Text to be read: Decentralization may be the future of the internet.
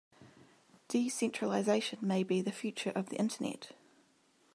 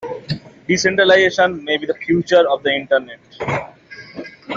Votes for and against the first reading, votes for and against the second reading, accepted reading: 2, 0, 0, 2, first